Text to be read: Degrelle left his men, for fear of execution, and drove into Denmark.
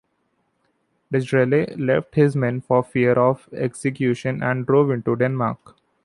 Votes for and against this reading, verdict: 2, 0, accepted